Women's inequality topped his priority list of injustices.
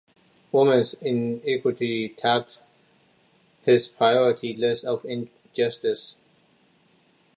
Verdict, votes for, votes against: rejected, 0, 2